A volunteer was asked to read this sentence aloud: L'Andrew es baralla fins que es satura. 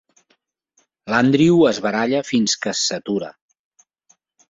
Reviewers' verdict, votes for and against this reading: accepted, 4, 0